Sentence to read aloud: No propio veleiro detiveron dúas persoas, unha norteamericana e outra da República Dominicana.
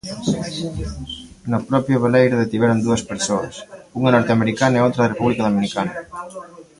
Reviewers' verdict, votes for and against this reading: accepted, 2, 1